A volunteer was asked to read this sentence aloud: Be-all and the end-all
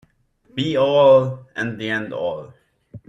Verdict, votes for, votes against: accepted, 2, 0